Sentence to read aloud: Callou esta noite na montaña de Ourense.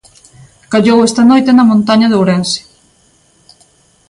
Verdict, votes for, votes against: accepted, 2, 0